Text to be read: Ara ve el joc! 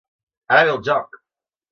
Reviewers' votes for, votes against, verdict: 1, 2, rejected